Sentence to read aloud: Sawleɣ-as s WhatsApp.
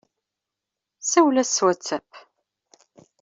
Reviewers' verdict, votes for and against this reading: rejected, 1, 2